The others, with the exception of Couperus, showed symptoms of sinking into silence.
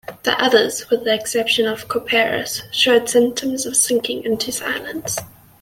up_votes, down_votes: 2, 0